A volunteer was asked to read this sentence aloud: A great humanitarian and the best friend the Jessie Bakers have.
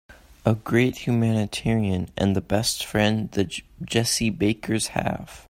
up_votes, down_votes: 1, 2